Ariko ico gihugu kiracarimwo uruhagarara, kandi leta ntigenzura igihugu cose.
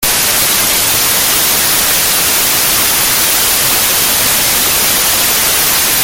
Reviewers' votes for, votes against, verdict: 0, 2, rejected